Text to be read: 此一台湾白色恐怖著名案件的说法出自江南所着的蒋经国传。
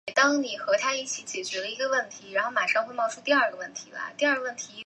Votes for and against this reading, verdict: 0, 4, rejected